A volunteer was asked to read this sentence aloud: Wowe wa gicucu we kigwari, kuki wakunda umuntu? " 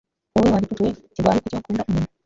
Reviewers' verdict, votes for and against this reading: rejected, 0, 2